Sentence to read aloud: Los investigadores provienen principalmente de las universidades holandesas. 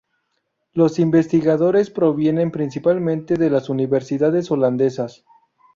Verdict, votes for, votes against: rejected, 0, 2